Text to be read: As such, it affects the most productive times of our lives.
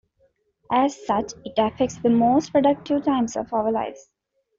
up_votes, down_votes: 2, 0